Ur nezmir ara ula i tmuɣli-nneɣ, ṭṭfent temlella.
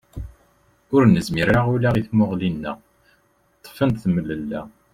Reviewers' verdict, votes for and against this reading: rejected, 1, 3